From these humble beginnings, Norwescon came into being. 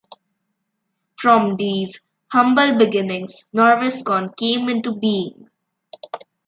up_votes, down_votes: 2, 0